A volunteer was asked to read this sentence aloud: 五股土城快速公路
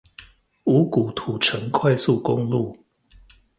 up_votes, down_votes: 2, 0